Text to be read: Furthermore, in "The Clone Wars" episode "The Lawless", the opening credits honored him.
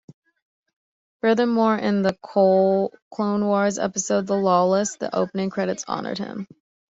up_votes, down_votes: 0, 2